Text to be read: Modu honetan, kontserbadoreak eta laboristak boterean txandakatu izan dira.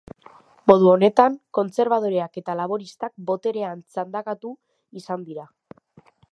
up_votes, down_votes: 2, 1